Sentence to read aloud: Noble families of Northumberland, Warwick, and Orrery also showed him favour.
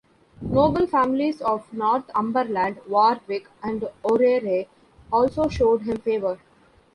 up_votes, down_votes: 0, 2